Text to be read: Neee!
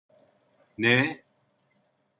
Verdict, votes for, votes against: accepted, 2, 0